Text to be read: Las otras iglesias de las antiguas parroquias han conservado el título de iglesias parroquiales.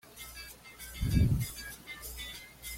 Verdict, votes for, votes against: rejected, 1, 2